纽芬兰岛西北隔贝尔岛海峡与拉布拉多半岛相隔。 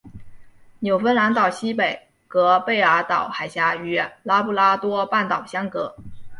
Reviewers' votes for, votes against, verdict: 2, 1, accepted